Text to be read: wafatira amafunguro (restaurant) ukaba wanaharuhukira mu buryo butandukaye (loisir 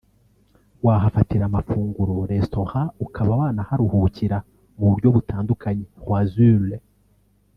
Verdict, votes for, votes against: rejected, 1, 2